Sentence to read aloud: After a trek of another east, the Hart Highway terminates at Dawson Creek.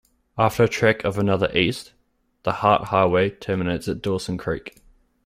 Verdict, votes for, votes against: rejected, 1, 2